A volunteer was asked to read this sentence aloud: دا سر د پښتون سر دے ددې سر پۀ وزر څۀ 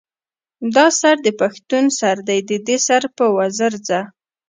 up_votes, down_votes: 2, 0